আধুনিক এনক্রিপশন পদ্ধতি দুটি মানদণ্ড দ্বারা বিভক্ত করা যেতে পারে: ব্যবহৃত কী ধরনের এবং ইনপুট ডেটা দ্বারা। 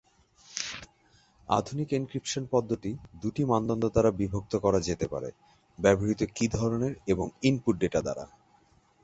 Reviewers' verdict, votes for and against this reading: accepted, 6, 0